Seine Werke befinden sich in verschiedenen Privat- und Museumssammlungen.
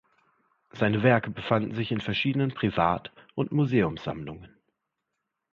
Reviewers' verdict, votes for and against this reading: rejected, 1, 2